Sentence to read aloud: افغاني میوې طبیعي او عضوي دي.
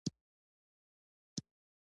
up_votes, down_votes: 1, 2